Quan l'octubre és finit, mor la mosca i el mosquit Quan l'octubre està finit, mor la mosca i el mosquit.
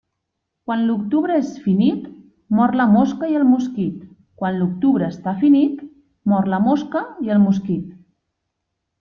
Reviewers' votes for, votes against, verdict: 2, 0, accepted